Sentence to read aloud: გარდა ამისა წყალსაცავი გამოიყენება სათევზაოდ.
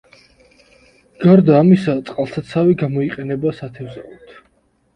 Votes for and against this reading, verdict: 2, 0, accepted